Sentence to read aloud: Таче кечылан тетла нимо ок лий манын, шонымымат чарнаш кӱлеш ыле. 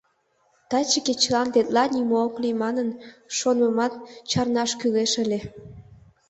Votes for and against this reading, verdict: 3, 0, accepted